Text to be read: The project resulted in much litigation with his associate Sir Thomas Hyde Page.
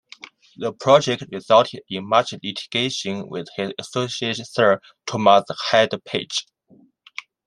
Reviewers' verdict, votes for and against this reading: rejected, 1, 2